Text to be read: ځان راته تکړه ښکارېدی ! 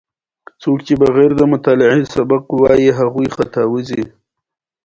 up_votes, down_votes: 1, 2